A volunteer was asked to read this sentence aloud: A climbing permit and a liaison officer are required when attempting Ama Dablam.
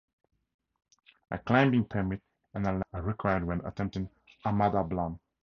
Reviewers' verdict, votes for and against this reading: rejected, 0, 2